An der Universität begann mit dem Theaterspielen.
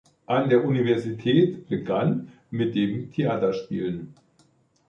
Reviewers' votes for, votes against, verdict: 2, 0, accepted